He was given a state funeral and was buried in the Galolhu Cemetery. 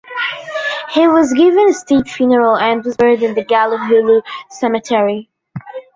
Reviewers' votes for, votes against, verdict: 0, 2, rejected